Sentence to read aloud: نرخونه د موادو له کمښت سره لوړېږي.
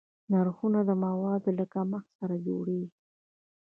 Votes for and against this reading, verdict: 2, 0, accepted